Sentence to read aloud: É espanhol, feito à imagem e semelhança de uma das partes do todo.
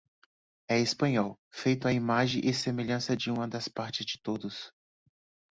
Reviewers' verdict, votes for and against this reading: rejected, 0, 2